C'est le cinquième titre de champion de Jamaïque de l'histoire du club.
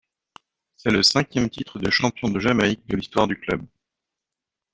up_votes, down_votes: 2, 0